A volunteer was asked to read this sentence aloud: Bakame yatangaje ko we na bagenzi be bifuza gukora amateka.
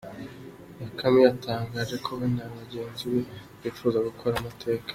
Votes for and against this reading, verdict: 2, 1, accepted